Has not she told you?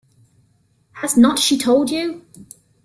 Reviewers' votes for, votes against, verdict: 2, 0, accepted